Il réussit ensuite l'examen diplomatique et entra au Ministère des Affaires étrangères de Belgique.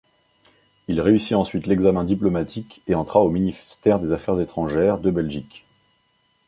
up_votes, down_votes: 1, 2